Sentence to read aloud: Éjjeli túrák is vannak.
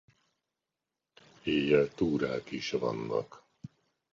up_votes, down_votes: 0, 2